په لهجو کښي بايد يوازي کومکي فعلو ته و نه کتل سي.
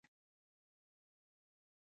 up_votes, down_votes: 1, 2